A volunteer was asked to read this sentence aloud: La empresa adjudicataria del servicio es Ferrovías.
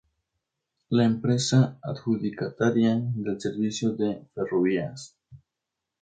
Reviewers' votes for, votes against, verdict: 0, 2, rejected